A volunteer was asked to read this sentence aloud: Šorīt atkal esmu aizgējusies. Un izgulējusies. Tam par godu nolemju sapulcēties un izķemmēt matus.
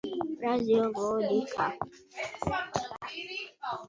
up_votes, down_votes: 0, 2